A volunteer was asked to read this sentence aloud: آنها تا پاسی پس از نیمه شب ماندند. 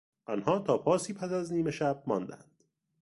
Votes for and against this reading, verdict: 2, 0, accepted